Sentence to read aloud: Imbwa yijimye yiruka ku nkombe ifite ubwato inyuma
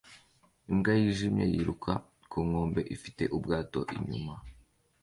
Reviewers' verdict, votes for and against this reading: accepted, 2, 0